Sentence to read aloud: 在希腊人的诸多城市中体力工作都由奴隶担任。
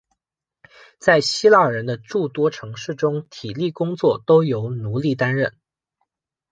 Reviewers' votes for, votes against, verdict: 0, 2, rejected